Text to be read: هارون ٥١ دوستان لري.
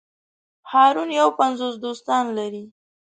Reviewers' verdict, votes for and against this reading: rejected, 0, 2